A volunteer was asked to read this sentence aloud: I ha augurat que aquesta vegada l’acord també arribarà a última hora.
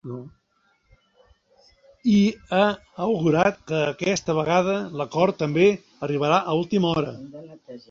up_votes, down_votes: 1, 2